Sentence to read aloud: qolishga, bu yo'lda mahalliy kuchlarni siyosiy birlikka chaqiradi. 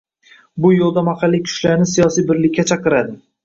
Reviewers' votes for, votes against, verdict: 0, 2, rejected